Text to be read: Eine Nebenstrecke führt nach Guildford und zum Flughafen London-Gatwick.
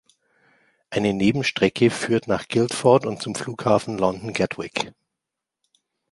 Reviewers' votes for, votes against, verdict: 2, 0, accepted